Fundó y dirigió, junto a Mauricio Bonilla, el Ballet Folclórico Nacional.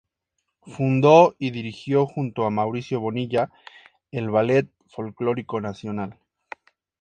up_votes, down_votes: 2, 0